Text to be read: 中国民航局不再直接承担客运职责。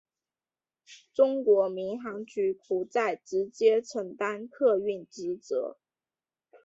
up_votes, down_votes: 3, 1